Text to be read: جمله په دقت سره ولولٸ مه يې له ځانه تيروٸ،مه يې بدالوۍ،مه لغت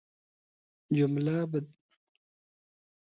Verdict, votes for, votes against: rejected, 1, 2